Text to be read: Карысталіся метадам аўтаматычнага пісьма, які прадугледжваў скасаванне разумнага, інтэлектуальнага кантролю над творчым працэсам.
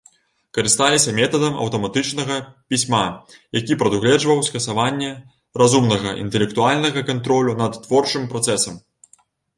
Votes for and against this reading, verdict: 2, 0, accepted